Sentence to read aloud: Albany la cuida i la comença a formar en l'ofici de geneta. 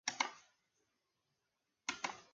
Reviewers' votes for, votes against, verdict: 0, 2, rejected